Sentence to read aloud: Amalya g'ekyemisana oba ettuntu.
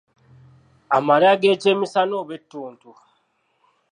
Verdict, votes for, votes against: accepted, 2, 0